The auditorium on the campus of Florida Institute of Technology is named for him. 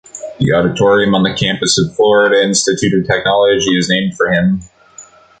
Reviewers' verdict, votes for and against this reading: accepted, 2, 0